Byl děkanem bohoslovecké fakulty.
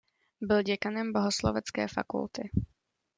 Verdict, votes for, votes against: accepted, 2, 0